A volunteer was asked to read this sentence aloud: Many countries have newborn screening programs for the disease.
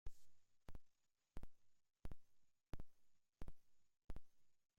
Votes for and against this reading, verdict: 0, 2, rejected